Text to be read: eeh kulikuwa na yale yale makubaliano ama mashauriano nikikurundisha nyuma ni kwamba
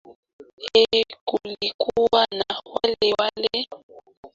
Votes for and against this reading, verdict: 0, 2, rejected